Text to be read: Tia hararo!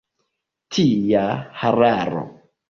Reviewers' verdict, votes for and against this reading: accepted, 2, 1